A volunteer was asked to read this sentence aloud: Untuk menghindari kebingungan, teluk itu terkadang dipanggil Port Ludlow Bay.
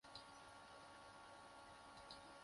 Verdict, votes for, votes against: rejected, 0, 2